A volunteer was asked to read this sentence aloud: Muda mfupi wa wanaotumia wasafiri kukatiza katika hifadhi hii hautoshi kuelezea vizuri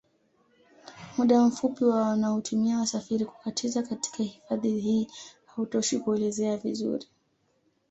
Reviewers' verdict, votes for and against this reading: accepted, 2, 0